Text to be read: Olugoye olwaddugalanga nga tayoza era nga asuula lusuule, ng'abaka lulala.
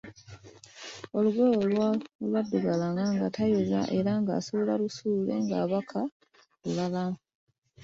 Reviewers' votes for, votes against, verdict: 1, 2, rejected